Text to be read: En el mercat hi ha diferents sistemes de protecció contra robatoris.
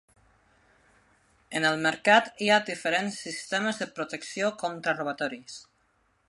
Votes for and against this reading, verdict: 3, 0, accepted